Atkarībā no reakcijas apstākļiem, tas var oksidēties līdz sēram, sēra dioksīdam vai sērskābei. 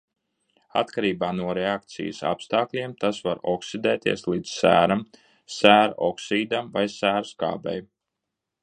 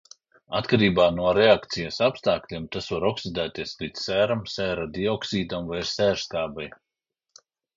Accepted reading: second